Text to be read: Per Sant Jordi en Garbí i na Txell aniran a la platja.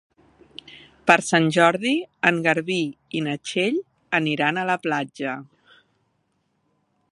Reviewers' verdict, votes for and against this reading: accepted, 3, 0